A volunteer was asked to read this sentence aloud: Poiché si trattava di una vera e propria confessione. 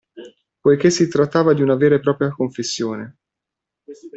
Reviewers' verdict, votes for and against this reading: accepted, 2, 0